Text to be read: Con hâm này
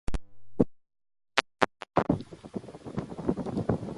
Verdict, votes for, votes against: rejected, 0, 2